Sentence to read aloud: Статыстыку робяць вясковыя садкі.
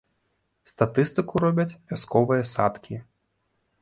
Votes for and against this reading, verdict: 0, 2, rejected